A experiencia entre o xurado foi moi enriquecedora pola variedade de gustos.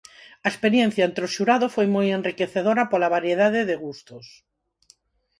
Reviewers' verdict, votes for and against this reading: accepted, 4, 0